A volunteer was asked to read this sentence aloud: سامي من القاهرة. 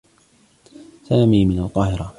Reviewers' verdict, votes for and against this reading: accepted, 2, 1